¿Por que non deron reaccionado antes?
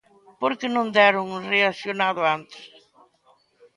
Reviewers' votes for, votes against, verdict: 2, 0, accepted